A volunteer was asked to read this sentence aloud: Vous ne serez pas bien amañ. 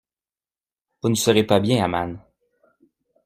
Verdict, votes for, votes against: accepted, 2, 0